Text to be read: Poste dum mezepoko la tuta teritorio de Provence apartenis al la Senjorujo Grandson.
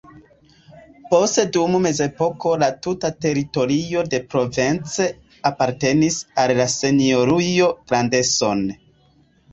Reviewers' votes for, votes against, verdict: 2, 1, accepted